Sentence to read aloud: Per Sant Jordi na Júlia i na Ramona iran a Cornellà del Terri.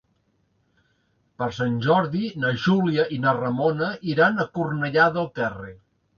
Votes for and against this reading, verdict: 2, 0, accepted